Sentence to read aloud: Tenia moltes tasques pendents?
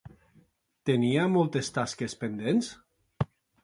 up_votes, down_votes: 2, 0